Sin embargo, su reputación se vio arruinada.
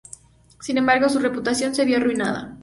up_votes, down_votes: 2, 0